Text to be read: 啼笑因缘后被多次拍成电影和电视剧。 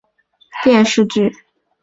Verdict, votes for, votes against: rejected, 1, 4